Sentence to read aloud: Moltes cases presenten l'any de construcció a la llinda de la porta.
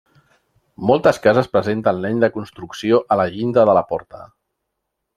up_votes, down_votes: 2, 0